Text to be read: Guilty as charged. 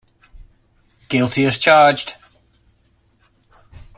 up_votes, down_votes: 2, 0